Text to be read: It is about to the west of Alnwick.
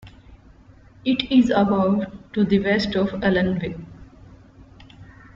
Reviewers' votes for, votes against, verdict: 0, 2, rejected